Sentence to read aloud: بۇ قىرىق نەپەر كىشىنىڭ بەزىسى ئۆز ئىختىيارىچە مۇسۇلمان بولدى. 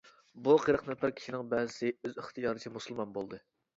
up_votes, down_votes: 2, 1